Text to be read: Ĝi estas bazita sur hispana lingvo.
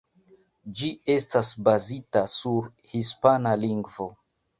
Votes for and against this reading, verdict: 2, 0, accepted